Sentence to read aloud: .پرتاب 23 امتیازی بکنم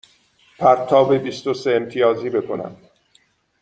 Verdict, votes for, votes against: rejected, 0, 2